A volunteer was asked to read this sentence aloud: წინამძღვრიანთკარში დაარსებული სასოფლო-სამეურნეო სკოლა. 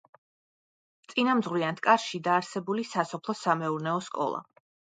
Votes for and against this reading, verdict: 0, 2, rejected